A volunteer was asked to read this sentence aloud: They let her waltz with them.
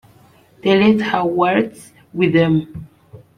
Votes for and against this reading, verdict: 0, 2, rejected